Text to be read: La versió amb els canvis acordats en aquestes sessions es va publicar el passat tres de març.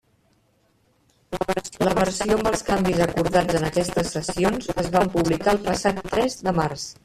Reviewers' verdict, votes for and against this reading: rejected, 0, 2